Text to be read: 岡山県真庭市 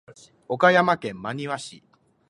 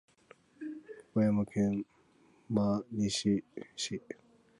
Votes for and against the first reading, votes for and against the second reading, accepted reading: 2, 0, 1, 4, first